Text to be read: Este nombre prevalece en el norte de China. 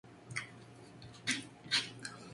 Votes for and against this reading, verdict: 0, 2, rejected